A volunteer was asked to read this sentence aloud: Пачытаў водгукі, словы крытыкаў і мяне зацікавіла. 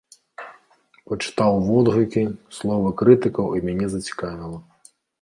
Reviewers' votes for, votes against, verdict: 2, 0, accepted